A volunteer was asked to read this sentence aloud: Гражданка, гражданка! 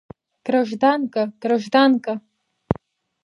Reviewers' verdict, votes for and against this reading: accepted, 2, 0